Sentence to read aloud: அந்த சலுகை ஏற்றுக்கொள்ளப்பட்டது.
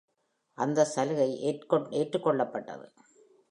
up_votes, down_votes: 0, 2